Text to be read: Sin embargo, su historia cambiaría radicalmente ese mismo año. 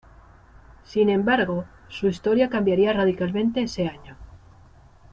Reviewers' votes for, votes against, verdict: 1, 2, rejected